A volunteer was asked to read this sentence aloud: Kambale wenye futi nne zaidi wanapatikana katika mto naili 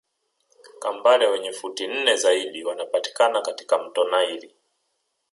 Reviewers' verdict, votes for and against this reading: accepted, 2, 0